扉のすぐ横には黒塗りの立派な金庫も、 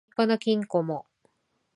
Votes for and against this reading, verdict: 8, 24, rejected